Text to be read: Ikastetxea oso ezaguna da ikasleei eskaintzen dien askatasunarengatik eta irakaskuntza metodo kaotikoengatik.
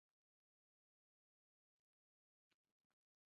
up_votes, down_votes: 0, 3